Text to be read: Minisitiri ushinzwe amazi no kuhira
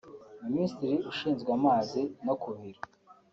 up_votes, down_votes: 2, 0